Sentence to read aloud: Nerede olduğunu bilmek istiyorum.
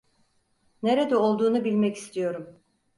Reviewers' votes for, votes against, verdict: 4, 0, accepted